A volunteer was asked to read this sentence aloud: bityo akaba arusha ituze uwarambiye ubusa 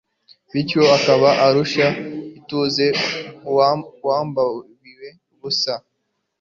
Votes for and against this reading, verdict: 1, 2, rejected